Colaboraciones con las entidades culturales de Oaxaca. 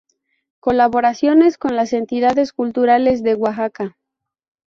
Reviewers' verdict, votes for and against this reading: accepted, 2, 0